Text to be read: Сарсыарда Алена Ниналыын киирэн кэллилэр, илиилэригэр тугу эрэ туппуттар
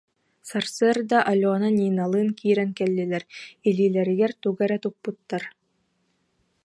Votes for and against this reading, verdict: 2, 0, accepted